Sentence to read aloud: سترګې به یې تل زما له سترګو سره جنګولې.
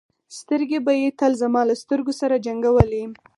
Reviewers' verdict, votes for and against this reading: accepted, 4, 0